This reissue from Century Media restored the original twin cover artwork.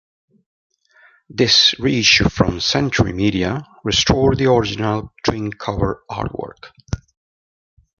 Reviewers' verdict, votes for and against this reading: rejected, 0, 2